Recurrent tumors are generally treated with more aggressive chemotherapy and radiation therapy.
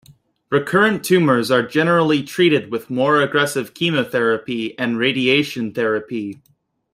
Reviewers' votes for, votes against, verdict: 2, 0, accepted